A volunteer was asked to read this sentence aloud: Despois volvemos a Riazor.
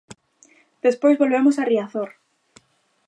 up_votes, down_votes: 2, 0